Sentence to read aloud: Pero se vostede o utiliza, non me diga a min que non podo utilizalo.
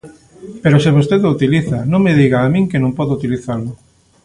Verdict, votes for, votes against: accepted, 2, 0